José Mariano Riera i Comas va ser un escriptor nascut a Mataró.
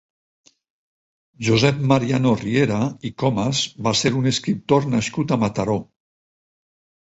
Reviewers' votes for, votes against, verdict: 2, 4, rejected